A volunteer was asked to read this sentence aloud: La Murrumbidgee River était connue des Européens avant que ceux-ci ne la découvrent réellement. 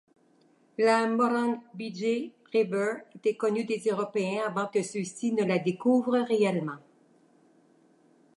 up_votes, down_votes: 1, 2